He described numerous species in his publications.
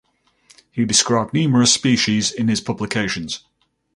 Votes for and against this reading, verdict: 4, 0, accepted